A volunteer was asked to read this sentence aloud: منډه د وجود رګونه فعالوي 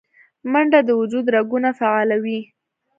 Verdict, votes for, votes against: accepted, 2, 0